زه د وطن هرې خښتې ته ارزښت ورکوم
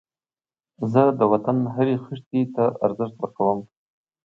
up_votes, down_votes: 2, 0